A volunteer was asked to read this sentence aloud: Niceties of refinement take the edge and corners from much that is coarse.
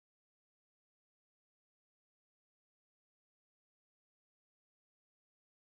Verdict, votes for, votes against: rejected, 0, 2